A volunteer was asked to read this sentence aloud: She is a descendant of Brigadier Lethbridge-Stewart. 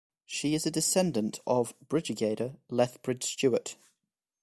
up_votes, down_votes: 0, 2